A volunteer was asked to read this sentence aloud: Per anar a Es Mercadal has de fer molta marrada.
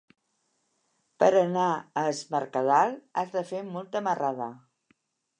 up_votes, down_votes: 1, 2